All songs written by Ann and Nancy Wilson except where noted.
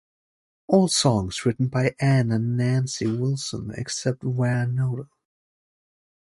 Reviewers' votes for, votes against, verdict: 0, 2, rejected